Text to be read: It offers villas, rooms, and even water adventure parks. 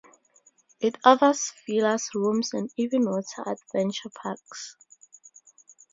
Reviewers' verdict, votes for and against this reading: rejected, 0, 2